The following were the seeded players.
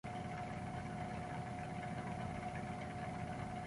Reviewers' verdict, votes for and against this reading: rejected, 0, 2